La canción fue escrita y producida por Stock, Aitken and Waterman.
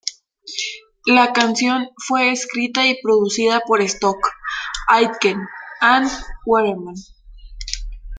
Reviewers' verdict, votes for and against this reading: rejected, 0, 2